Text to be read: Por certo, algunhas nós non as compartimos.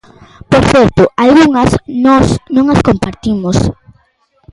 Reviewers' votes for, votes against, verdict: 2, 0, accepted